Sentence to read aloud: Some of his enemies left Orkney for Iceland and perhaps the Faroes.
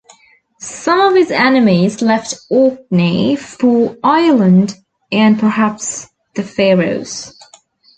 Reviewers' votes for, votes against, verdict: 0, 2, rejected